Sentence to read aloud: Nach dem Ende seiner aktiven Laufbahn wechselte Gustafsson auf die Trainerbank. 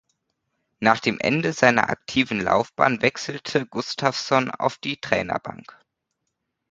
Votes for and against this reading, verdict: 2, 0, accepted